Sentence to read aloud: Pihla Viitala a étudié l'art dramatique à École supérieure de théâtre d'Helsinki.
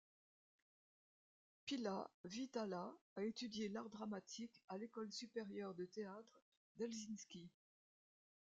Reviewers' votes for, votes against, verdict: 1, 2, rejected